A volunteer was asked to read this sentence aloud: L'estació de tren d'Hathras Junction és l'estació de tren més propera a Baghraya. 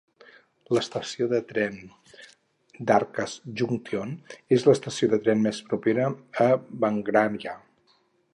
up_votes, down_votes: 4, 0